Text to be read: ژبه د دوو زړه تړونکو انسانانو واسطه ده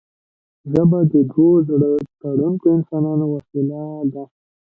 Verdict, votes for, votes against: accepted, 2, 1